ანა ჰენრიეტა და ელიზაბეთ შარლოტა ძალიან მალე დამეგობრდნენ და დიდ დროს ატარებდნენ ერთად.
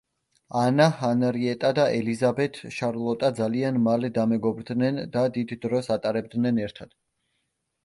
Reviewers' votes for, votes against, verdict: 0, 2, rejected